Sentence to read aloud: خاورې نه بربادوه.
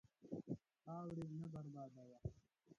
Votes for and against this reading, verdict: 0, 2, rejected